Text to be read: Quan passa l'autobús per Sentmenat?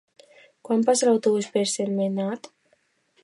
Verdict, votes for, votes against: accepted, 2, 0